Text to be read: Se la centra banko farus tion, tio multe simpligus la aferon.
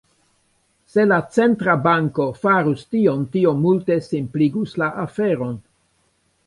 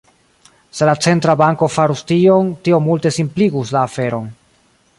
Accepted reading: second